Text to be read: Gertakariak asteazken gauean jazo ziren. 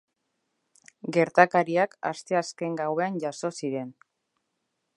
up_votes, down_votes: 2, 0